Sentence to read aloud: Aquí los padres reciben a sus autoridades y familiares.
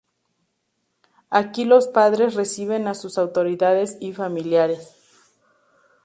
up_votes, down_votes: 2, 0